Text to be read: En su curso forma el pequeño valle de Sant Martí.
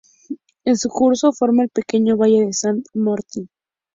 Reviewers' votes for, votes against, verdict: 2, 0, accepted